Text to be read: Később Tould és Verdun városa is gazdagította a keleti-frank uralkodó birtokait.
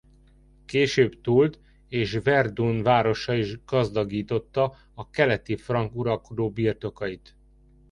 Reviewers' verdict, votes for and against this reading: rejected, 0, 2